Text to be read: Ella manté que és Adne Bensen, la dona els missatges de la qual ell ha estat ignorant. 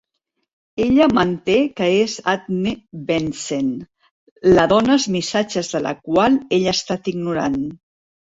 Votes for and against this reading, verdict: 1, 2, rejected